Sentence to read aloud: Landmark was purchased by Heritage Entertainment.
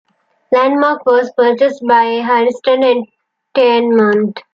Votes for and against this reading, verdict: 0, 2, rejected